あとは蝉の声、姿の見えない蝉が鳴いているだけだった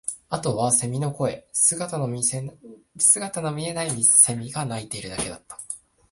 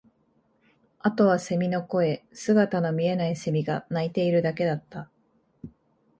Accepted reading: second